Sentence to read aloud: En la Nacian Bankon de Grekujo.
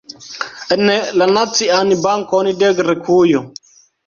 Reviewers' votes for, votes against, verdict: 1, 2, rejected